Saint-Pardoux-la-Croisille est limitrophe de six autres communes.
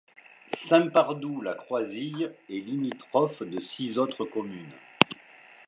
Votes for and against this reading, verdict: 2, 1, accepted